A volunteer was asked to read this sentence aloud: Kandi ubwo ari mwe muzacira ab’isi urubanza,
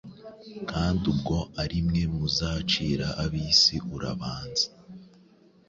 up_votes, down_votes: 1, 2